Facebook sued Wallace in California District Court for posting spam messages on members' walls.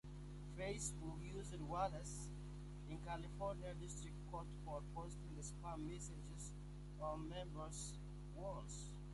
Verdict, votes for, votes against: accepted, 2, 1